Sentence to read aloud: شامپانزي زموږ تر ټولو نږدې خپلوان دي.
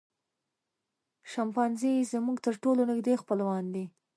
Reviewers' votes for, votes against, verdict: 3, 0, accepted